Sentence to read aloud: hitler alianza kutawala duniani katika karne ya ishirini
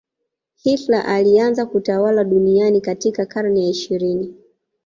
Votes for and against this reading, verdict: 2, 0, accepted